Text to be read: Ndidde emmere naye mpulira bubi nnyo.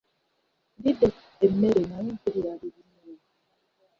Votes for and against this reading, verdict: 1, 2, rejected